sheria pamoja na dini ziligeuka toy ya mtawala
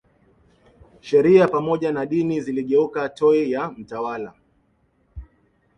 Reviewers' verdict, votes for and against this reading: rejected, 0, 2